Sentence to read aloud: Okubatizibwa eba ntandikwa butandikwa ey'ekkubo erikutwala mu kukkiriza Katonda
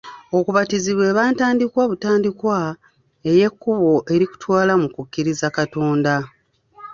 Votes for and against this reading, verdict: 0, 2, rejected